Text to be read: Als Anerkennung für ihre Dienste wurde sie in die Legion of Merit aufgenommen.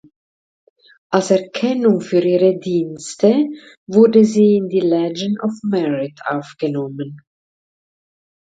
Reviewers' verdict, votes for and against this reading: rejected, 0, 2